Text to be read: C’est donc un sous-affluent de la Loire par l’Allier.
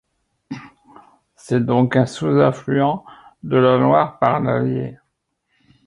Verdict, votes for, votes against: accepted, 2, 0